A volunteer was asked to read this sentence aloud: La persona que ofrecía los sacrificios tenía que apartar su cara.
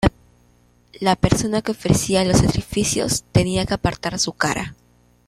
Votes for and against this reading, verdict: 2, 1, accepted